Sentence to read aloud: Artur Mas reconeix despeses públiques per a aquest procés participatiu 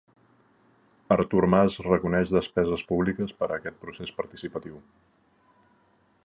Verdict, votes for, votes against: accepted, 2, 0